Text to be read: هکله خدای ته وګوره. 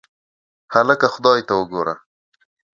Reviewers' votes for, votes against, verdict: 2, 0, accepted